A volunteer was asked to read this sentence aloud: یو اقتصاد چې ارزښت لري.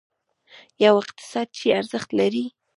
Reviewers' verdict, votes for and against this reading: rejected, 1, 2